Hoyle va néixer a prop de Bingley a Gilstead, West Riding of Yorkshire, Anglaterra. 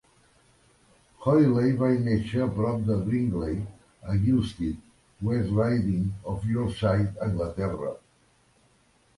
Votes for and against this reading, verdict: 1, 2, rejected